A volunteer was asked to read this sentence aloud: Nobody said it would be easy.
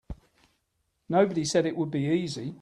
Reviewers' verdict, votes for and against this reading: accepted, 3, 0